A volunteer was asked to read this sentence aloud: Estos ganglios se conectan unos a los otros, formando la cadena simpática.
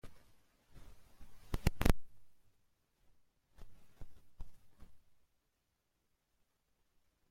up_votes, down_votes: 0, 2